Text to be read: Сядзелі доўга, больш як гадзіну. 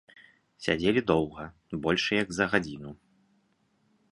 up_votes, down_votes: 0, 2